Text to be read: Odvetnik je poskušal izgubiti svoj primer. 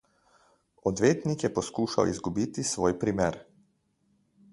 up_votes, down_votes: 2, 0